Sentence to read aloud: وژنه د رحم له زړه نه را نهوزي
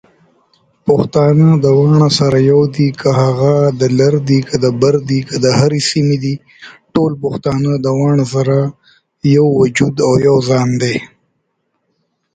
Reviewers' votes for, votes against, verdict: 0, 2, rejected